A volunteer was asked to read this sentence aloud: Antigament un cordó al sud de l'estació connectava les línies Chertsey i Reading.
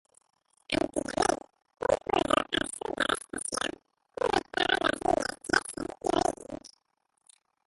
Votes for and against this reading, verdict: 0, 2, rejected